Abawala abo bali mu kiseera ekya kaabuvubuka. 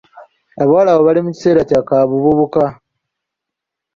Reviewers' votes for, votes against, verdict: 0, 2, rejected